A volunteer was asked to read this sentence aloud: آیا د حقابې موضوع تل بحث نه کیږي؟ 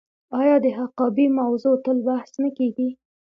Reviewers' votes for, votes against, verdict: 2, 0, accepted